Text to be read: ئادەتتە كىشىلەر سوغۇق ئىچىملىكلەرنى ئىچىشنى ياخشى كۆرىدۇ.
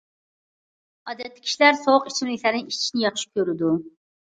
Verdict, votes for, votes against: accepted, 2, 0